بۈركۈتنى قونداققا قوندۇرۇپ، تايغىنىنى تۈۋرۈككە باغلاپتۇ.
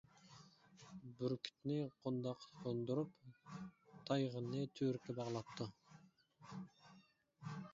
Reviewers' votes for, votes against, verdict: 1, 2, rejected